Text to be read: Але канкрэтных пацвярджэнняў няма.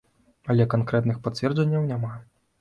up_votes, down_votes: 2, 0